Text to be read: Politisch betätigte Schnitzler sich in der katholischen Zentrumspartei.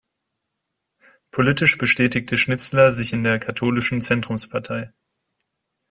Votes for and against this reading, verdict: 0, 2, rejected